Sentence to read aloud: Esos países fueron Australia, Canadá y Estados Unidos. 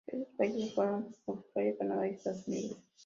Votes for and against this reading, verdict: 0, 2, rejected